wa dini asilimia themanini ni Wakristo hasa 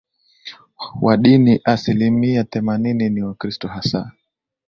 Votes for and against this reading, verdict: 2, 0, accepted